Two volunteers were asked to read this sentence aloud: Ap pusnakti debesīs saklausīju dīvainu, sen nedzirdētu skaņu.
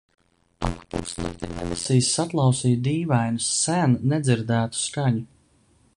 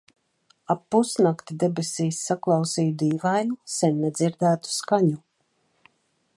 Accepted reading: second